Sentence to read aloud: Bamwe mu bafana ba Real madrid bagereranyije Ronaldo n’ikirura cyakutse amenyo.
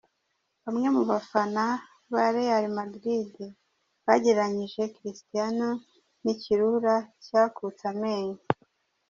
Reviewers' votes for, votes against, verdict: 0, 2, rejected